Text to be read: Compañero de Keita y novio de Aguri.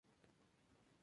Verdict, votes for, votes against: accepted, 2, 0